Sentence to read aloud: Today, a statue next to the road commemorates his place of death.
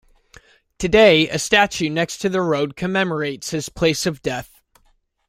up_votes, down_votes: 2, 0